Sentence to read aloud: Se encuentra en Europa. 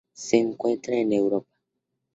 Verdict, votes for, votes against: rejected, 0, 4